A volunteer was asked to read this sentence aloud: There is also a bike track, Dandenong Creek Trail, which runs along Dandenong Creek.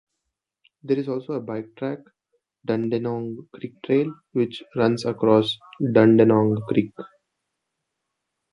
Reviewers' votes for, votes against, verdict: 0, 2, rejected